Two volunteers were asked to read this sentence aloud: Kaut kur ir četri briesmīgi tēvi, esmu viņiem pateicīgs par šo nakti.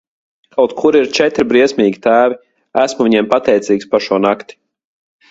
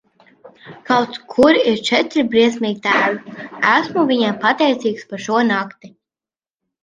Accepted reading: first